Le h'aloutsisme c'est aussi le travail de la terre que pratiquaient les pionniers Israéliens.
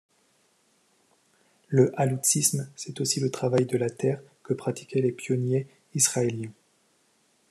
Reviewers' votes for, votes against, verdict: 2, 0, accepted